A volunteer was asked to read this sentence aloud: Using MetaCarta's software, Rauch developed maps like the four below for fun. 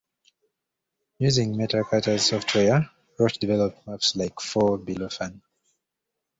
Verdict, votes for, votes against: rejected, 0, 2